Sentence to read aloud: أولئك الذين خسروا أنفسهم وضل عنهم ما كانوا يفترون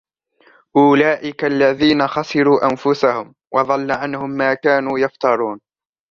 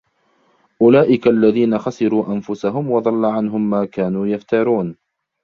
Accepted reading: first